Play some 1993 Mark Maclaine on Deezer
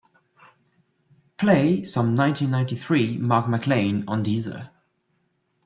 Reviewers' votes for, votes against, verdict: 0, 2, rejected